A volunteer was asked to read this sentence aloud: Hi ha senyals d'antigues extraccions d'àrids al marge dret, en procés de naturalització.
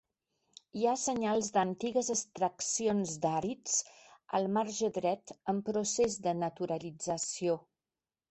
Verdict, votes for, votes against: accepted, 3, 1